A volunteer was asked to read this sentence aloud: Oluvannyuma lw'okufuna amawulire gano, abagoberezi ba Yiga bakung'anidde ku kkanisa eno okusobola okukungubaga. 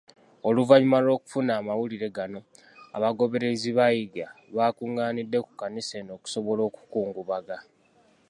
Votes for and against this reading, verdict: 2, 1, accepted